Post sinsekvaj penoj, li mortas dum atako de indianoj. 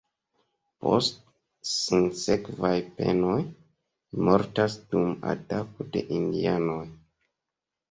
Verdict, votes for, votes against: rejected, 1, 3